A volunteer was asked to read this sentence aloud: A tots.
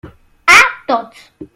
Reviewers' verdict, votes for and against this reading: accepted, 2, 0